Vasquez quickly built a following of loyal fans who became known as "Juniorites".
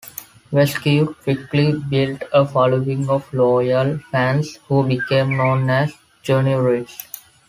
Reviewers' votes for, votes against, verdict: 2, 0, accepted